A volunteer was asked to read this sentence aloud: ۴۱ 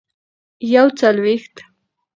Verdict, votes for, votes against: rejected, 0, 2